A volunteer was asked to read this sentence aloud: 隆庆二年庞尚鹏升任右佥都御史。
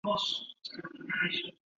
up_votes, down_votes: 0, 2